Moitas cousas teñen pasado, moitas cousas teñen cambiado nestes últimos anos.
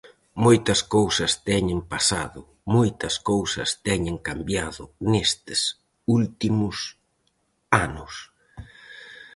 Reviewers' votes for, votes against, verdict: 4, 0, accepted